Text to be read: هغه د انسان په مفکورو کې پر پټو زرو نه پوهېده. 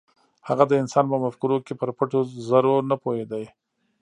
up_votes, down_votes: 1, 2